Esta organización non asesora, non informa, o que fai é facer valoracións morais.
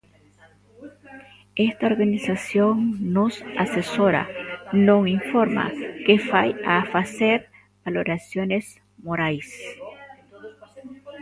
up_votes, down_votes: 0, 2